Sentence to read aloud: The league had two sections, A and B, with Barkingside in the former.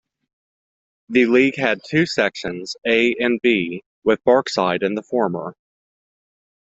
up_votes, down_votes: 0, 2